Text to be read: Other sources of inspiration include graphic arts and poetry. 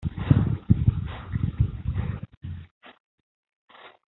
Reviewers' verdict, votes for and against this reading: rejected, 0, 2